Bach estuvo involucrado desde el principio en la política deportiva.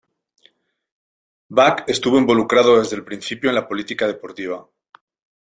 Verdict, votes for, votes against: accepted, 2, 0